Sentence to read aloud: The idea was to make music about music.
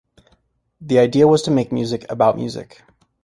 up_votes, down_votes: 2, 0